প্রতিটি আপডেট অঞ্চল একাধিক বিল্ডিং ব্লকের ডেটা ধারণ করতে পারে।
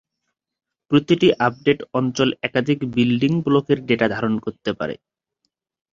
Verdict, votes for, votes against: accepted, 2, 0